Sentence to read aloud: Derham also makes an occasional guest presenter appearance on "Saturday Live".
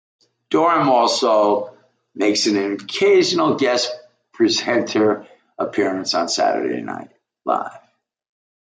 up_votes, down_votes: 0, 2